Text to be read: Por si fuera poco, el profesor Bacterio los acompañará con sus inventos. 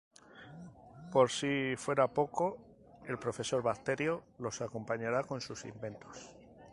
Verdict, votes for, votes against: accepted, 2, 0